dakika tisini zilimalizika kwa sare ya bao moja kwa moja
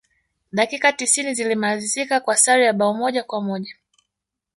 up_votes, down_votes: 1, 2